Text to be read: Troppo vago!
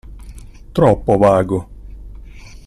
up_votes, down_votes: 2, 0